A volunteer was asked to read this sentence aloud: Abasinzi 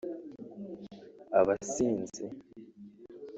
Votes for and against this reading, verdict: 1, 2, rejected